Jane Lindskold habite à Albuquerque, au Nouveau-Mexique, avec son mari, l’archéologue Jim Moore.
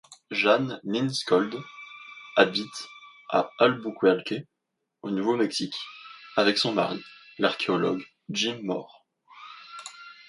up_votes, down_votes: 1, 2